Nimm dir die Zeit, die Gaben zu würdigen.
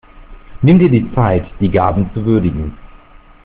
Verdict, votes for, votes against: accepted, 2, 1